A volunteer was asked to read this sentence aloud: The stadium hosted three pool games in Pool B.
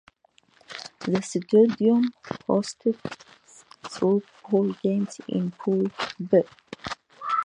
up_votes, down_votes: 0, 2